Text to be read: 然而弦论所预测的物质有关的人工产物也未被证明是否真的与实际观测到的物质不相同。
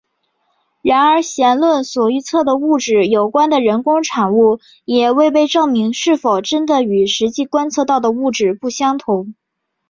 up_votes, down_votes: 2, 0